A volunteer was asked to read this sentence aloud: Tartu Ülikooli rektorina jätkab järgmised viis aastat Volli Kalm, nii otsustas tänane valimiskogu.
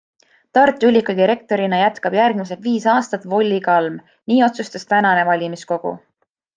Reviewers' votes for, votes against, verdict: 2, 0, accepted